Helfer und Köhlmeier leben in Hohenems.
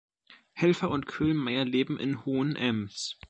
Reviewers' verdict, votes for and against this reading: accepted, 2, 0